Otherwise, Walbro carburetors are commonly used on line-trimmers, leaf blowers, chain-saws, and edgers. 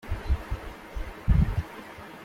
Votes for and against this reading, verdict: 0, 2, rejected